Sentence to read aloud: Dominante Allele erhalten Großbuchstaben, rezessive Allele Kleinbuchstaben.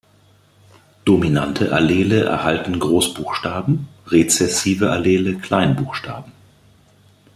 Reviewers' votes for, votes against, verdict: 2, 0, accepted